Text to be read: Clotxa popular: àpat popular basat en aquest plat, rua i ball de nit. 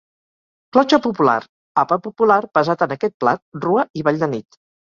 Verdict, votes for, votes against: accepted, 4, 0